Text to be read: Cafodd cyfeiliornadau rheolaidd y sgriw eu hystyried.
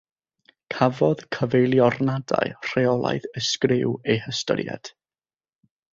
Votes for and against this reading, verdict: 6, 0, accepted